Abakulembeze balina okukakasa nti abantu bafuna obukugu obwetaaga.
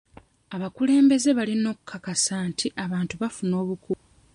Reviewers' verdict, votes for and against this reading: rejected, 0, 2